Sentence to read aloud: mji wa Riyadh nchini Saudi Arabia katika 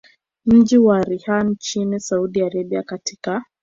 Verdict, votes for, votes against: rejected, 1, 2